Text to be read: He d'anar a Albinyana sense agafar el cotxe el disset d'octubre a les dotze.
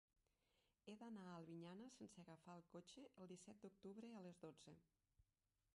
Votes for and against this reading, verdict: 1, 3, rejected